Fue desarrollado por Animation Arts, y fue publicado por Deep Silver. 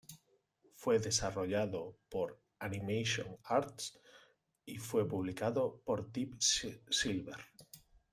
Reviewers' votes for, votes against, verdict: 1, 2, rejected